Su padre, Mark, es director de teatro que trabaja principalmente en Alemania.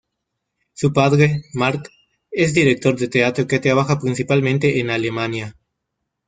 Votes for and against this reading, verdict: 2, 1, accepted